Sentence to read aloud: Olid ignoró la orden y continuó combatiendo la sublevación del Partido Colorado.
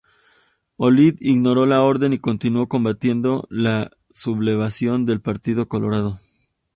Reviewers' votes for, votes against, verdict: 2, 1, accepted